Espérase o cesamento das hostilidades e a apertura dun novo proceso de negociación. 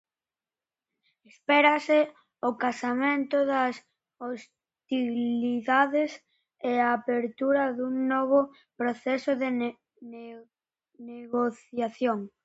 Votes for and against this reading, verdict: 0, 2, rejected